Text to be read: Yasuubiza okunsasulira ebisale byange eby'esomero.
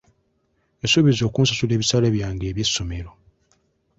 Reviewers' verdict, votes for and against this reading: accepted, 2, 0